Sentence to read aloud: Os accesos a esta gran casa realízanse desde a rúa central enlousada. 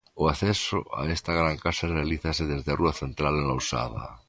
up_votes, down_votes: 1, 2